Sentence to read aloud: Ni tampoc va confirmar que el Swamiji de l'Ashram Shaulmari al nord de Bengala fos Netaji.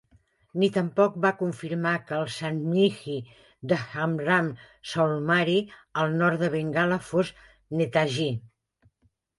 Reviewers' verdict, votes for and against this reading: rejected, 0, 2